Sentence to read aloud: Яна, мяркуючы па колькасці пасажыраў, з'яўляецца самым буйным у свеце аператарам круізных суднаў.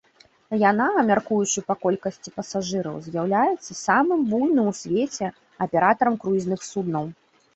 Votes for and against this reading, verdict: 1, 2, rejected